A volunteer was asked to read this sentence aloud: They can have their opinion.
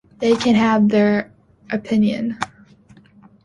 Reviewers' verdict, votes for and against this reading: accepted, 2, 0